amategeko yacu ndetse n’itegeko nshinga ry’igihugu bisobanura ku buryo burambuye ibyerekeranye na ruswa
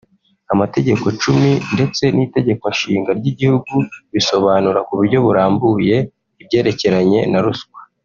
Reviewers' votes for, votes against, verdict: 2, 0, accepted